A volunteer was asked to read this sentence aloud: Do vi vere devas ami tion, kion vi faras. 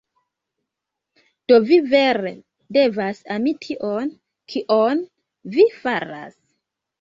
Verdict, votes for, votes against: accepted, 2, 1